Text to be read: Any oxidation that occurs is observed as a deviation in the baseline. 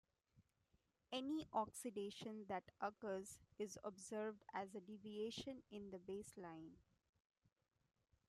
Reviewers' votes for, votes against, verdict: 2, 0, accepted